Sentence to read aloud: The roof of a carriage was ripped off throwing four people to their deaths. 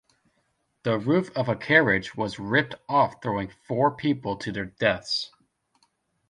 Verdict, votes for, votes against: accepted, 2, 0